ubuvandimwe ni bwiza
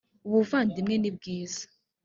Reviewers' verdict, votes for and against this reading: accepted, 4, 0